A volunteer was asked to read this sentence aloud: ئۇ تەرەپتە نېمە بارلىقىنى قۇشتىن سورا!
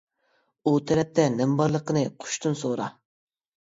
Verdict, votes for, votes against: accepted, 2, 0